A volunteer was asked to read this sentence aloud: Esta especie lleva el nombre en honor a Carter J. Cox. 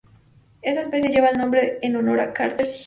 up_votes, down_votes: 0, 2